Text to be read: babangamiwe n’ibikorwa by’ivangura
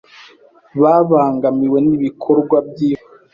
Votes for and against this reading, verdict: 0, 2, rejected